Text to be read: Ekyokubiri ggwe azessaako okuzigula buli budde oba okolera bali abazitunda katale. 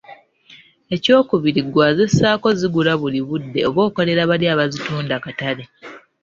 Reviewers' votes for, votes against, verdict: 1, 2, rejected